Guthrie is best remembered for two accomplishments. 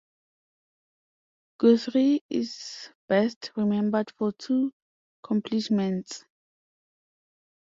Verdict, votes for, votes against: rejected, 0, 2